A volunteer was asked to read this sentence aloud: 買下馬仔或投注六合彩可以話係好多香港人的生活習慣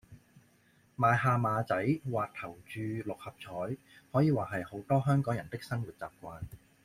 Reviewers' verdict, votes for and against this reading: accepted, 2, 0